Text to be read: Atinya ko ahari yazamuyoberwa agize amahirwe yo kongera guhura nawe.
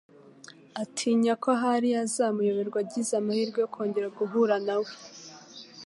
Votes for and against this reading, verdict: 3, 0, accepted